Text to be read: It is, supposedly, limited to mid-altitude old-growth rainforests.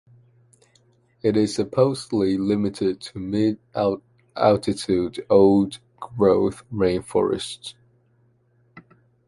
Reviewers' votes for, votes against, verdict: 0, 2, rejected